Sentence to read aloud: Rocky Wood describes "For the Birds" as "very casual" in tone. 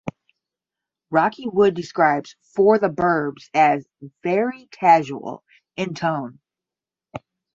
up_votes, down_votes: 10, 0